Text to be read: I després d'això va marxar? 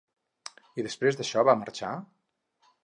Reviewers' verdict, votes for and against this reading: accepted, 2, 0